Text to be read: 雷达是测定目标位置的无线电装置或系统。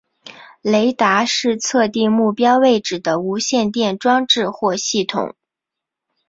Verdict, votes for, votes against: accepted, 2, 0